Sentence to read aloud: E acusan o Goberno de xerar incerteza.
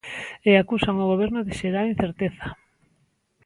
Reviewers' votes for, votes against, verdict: 2, 0, accepted